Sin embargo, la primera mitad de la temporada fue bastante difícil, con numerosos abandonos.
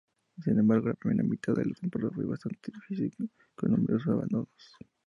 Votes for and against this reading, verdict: 0, 2, rejected